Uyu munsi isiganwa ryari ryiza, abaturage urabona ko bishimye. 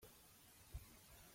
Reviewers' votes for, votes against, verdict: 0, 2, rejected